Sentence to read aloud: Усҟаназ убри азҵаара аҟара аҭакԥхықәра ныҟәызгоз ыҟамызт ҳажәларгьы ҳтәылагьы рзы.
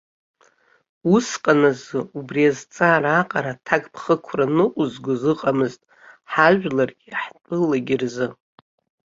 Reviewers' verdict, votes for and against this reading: rejected, 1, 2